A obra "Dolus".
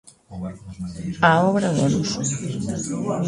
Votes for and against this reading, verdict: 1, 2, rejected